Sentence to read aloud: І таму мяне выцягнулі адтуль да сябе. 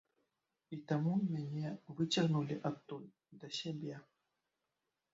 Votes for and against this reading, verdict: 1, 2, rejected